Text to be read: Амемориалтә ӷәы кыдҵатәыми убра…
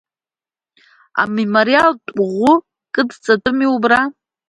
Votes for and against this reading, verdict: 2, 0, accepted